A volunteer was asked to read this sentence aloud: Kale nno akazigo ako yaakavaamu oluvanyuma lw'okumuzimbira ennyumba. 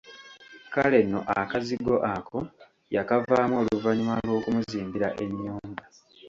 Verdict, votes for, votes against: rejected, 0, 2